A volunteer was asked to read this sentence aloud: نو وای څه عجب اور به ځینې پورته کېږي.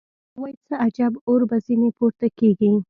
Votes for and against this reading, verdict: 1, 2, rejected